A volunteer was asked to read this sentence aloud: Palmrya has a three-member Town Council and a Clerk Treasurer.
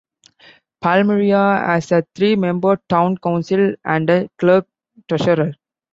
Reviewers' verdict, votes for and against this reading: accepted, 2, 0